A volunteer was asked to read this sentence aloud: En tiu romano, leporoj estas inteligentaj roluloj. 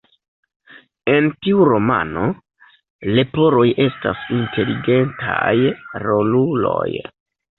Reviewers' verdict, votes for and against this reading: accepted, 2, 1